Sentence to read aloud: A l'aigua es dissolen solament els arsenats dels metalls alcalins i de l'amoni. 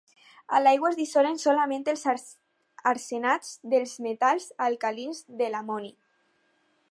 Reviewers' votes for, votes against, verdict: 2, 4, rejected